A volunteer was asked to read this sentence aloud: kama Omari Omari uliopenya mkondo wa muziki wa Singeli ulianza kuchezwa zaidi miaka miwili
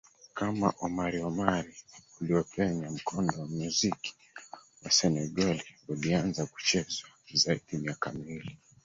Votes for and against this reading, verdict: 2, 3, rejected